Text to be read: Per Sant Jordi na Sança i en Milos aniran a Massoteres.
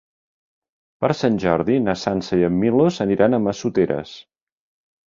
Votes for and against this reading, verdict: 3, 0, accepted